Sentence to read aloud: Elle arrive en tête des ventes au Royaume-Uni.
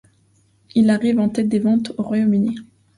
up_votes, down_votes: 1, 2